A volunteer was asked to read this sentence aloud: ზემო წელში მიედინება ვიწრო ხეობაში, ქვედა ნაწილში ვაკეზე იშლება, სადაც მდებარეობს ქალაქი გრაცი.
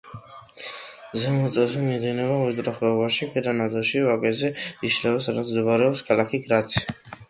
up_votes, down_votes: 2, 1